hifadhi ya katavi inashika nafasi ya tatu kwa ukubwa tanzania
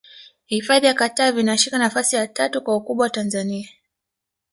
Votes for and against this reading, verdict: 2, 0, accepted